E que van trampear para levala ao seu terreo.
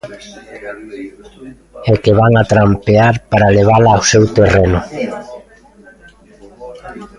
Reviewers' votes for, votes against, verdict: 0, 2, rejected